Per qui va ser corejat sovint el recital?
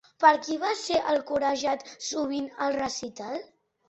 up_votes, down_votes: 0, 2